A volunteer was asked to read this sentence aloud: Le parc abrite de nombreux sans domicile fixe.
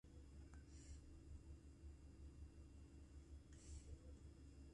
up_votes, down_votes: 0, 2